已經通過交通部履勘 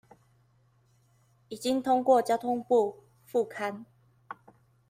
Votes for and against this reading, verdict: 0, 2, rejected